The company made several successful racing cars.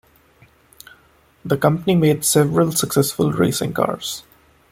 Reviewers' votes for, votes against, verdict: 2, 0, accepted